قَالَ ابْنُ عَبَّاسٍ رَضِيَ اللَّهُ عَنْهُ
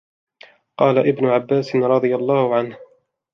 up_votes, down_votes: 2, 0